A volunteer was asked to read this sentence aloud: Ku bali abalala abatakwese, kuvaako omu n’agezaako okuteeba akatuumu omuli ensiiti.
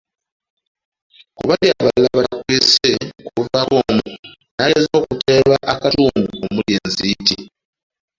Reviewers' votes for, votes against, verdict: 0, 2, rejected